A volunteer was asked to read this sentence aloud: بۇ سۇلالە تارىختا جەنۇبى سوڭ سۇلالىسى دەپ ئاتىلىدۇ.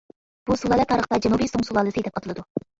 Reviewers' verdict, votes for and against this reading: rejected, 0, 2